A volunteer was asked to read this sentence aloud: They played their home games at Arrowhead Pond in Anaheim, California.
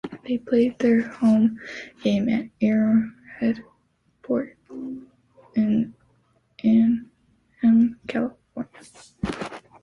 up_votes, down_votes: 0, 3